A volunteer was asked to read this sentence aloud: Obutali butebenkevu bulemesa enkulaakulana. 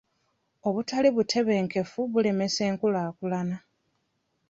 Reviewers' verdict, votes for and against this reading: accepted, 2, 1